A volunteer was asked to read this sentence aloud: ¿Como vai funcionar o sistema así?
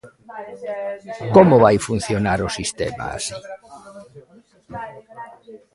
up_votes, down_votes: 1, 2